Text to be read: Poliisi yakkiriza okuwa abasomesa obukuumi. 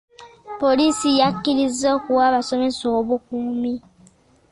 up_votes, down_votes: 2, 0